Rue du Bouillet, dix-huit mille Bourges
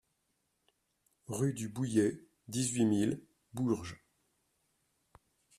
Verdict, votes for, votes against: rejected, 1, 2